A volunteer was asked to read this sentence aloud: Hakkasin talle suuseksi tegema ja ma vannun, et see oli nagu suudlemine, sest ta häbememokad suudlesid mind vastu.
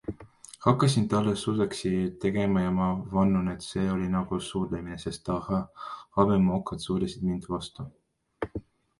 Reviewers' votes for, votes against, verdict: 1, 2, rejected